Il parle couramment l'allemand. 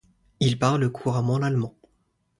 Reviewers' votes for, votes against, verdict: 2, 0, accepted